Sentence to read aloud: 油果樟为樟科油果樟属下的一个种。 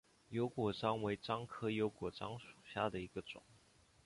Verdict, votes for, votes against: accepted, 3, 1